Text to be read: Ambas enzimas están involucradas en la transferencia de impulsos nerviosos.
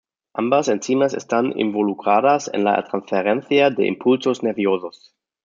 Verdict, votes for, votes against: accepted, 2, 0